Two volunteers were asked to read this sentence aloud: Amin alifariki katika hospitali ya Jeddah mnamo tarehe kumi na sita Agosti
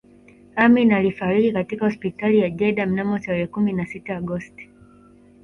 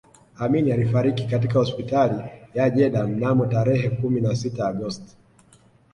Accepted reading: second